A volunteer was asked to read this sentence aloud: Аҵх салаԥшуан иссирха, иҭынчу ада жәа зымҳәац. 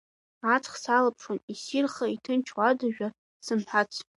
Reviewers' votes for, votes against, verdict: 2, 0, accepted